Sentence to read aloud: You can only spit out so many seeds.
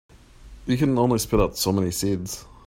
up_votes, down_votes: 2, 0